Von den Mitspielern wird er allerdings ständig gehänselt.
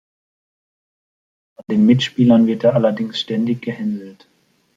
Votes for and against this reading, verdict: 2, 0, accepted